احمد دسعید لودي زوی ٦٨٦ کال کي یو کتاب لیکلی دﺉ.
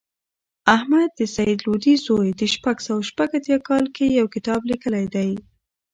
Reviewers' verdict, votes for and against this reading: rejected, 0, 2